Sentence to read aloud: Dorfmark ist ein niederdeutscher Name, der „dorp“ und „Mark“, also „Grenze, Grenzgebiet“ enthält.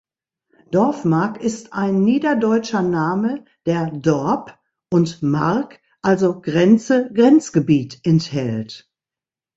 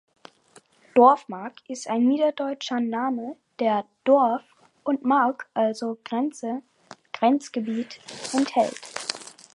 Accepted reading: first